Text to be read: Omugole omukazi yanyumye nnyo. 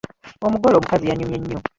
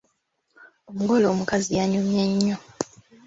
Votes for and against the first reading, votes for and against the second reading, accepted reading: 2, 3, 2, 1, second